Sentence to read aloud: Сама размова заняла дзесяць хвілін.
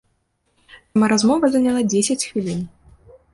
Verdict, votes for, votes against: rejected, 1, 2